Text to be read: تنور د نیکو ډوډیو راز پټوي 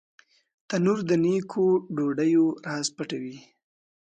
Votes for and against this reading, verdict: 2, 0, accepted